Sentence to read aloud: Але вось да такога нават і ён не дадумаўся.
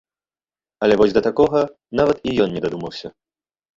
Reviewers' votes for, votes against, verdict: 1, 2, rejected